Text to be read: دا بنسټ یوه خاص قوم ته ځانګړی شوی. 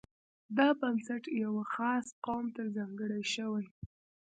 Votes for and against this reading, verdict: 0, 2, rejected